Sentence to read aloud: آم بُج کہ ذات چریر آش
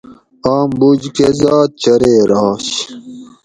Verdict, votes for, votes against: accepted, 4, 0